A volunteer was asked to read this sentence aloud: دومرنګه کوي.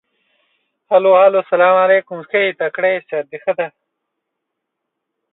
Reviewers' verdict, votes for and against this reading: rejected, 0, 2